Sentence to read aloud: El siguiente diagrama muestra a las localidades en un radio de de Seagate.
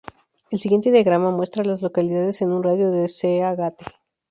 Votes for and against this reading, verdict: 0, 4, rejected